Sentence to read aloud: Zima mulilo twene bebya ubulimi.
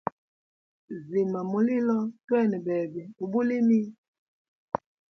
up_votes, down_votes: 2, 0